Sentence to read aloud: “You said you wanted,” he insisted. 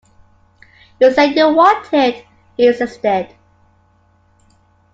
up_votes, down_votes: 1, 2